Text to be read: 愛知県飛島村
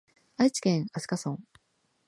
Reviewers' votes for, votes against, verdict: 2, 1, accepted